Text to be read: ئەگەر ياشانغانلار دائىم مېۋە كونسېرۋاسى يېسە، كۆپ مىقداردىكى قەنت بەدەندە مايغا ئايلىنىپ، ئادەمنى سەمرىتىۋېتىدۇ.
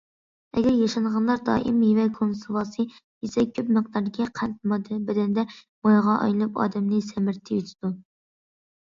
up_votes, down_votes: 0, 2